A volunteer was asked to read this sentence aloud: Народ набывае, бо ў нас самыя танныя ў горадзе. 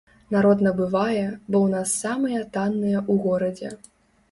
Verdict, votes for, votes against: accepted, 2, 0